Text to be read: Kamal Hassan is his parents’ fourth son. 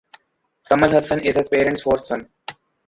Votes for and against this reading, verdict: 2, 0, accepted